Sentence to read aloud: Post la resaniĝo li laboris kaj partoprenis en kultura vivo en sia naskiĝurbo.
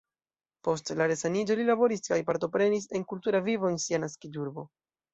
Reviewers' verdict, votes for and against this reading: accepted, 2, 0